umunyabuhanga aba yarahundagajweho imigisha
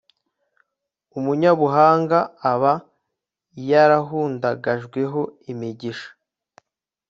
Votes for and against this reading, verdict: 2, 0, accepted